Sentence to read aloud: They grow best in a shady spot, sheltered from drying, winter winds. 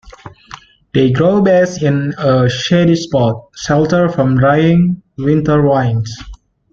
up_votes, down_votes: 1, 2